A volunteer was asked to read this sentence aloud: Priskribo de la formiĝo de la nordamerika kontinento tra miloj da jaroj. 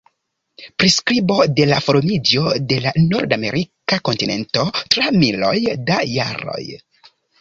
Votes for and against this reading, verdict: 2, 0, accepted